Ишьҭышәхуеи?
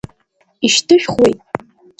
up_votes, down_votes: 2, 0